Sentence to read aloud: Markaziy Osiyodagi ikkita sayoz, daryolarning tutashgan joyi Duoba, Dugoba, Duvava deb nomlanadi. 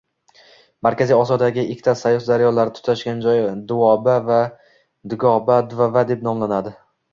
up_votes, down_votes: 1, 2